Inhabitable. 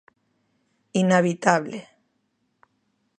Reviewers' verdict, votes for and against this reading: accepted, 3, 0